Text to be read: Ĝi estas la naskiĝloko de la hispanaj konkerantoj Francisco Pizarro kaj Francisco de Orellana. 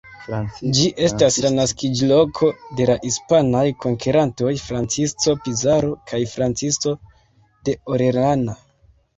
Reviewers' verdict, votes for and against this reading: rejected, 2, 3